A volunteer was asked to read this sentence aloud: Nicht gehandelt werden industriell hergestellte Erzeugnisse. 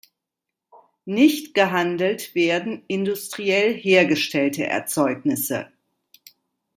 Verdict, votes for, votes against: accepted, 2, 0